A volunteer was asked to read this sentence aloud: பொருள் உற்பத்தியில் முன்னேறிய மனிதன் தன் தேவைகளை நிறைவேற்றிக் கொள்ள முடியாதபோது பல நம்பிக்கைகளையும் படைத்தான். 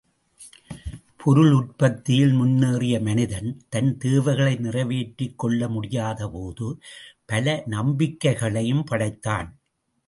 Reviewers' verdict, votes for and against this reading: rejected, 1, 2